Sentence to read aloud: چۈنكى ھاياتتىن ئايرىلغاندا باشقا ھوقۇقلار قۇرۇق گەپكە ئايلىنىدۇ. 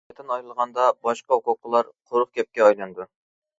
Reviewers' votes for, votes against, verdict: 0, 2, rejected